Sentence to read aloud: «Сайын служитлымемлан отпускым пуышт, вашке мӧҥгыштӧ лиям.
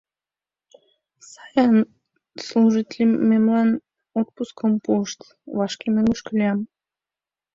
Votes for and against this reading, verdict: 1, 2, rejected